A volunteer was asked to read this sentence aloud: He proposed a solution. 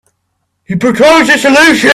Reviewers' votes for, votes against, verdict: 0, 3, rejected